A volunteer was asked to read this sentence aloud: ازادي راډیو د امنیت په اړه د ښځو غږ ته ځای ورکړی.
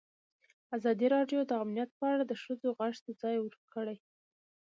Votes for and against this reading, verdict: 1, 2, rejected